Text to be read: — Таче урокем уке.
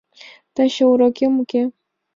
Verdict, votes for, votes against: accepted, 2, 0